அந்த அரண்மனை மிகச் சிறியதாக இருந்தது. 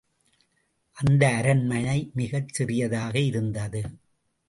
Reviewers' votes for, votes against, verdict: 2, 0, accepted